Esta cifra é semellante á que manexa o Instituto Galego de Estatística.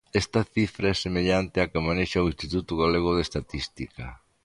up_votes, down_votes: 2, 0